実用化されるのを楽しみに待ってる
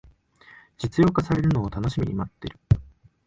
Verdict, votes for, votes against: rejected, 1, 2